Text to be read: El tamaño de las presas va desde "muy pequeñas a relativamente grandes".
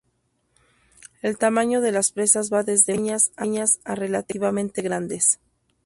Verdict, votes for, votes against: rejected, 0, 2